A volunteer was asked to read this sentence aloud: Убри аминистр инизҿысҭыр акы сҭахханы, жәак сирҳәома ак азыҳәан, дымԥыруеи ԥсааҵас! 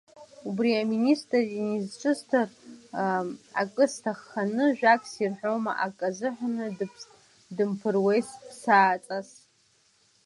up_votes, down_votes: 0, 2